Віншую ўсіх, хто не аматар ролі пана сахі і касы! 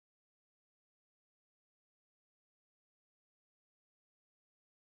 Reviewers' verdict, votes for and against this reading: rejected, 0, 2